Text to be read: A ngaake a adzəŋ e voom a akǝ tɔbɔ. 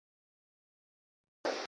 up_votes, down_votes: 0, 2